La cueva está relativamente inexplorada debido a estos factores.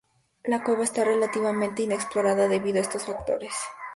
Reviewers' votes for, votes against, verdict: 2, 2, rejected